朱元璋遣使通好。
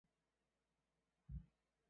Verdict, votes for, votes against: accepted, 4, 0